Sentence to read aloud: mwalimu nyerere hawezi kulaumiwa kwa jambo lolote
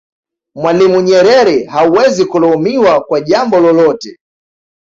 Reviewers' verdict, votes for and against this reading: accepted, 2, 0